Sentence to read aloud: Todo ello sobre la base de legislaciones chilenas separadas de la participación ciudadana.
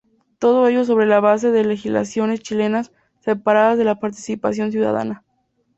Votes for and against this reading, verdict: 0, 2, rejected